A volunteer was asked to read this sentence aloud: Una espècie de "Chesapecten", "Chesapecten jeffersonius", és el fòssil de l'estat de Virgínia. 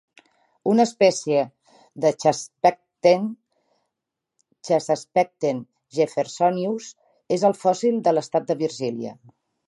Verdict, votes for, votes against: rejected, 0, 2